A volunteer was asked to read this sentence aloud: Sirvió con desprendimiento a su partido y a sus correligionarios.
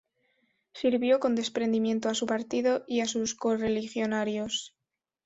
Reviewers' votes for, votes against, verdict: 3, 0, accepted